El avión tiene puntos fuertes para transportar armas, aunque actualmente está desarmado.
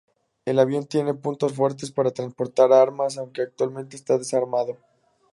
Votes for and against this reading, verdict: 2, 0, accepted